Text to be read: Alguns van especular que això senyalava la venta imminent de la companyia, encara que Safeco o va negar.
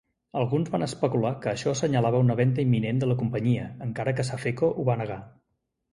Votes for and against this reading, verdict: 0, 2, rejected